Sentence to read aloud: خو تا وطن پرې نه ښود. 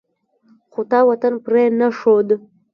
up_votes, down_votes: 1, 2